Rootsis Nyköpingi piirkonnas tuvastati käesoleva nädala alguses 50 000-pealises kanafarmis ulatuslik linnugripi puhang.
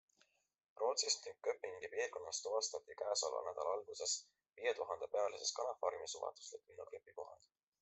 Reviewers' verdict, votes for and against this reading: rejected, 0, 2